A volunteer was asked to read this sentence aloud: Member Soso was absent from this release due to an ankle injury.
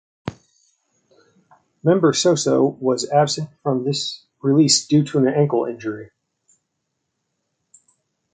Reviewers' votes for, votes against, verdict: 2, 0, accepted